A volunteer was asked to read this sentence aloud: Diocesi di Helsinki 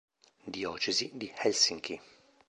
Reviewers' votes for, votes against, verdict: 2, 0, accepted